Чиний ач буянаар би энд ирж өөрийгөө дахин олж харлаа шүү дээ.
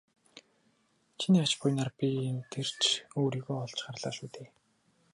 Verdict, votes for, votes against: rejected, 0, 2